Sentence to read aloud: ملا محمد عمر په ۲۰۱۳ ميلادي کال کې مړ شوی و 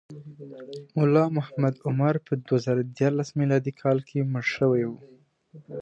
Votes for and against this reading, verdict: 0, 2, rejected